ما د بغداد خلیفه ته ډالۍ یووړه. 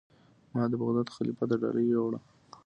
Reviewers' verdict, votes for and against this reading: accepted, 2, 0